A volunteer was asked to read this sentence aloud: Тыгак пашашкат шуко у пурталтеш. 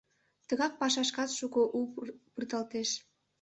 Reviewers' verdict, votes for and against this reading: rejected, 1, 2